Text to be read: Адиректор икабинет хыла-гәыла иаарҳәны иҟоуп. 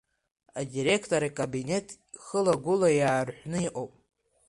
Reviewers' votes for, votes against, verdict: 2, 0, accepted